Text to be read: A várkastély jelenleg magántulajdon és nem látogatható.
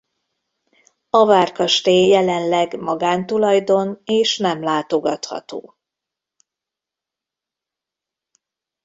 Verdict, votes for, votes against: accepted, 2, 0